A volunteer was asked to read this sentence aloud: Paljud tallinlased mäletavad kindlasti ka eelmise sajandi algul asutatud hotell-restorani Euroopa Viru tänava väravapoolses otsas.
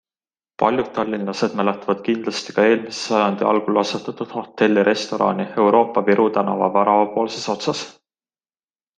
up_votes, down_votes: 3, 0